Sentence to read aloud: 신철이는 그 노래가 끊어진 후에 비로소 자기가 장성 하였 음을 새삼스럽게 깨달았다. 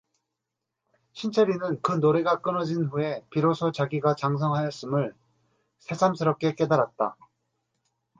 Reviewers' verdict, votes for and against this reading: accepted, 2, 0